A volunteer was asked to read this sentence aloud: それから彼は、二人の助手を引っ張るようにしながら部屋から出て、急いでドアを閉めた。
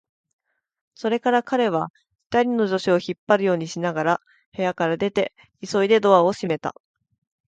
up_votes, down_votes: 5, 0